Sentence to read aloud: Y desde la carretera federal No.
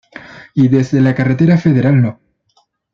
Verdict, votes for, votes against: accepted, 2, 0